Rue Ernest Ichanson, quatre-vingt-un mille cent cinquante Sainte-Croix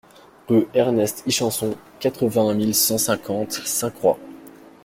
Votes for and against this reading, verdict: 2, 0, accepted